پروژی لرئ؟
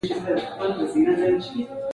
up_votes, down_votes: 2, 0